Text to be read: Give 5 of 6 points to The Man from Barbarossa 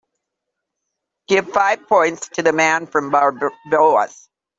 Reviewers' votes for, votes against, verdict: 0, 2, rejected